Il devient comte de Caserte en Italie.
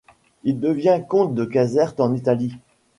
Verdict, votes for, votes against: accepted, 2, 0